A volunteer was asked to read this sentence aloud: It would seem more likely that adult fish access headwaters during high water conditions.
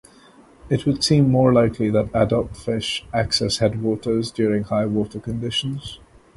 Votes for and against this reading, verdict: 2, 0, accepted